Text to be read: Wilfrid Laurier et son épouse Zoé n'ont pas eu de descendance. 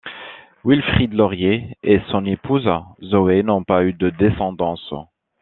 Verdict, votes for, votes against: accepted, 2, 0